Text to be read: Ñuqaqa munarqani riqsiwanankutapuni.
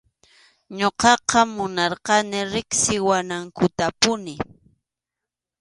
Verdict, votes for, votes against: accepted, 2, 0